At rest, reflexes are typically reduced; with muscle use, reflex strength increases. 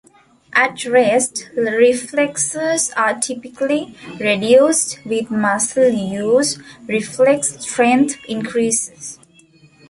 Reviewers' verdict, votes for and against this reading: rejected, 1, 2